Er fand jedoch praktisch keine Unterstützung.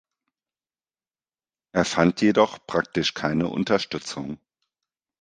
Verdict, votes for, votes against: accepted, 2, 0